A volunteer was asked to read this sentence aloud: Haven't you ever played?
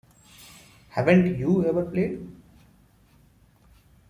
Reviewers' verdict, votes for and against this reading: accepted, 2, 0